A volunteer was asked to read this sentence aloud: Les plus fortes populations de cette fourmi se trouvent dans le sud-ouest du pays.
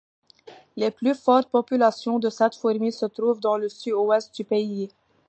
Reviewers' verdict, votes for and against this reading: accepted, 2, 0